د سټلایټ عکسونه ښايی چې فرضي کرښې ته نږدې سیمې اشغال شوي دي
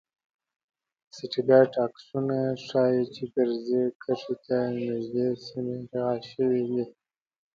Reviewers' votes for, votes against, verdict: 2, 0, accepted